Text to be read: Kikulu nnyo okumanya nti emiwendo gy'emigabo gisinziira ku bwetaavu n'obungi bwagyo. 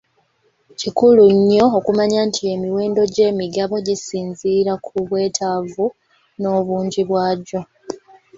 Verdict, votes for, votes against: accepted, 2, 0